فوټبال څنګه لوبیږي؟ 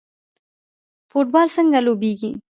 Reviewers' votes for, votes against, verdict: 0, 2, rejected